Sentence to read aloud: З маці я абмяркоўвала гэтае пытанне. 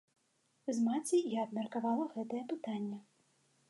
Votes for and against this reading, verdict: 1, 2, rejected